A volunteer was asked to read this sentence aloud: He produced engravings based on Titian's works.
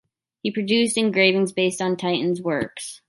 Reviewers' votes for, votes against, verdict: 2, 0, accepted